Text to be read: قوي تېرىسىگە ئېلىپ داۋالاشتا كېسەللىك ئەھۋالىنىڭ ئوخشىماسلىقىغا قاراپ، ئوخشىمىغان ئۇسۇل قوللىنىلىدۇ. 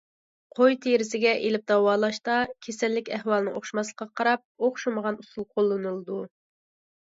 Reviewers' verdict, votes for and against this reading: accepted, 2, 0